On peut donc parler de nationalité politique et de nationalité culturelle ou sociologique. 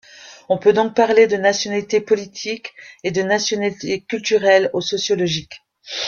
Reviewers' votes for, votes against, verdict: 1, 2, rejected